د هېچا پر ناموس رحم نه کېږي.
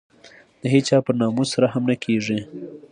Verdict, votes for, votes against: accepted, 2, 0